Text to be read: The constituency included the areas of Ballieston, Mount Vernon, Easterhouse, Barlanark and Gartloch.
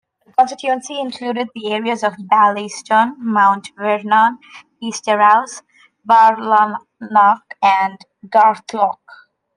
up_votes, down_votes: 1, 2